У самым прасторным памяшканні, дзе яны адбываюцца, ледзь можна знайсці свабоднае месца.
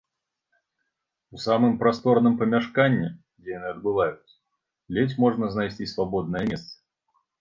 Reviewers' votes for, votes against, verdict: 2, 0, accepted